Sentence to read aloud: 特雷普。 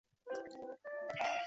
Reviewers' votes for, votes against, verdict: 0, 4, rejected